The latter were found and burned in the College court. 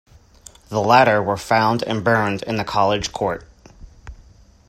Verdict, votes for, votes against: accepted, 2, 0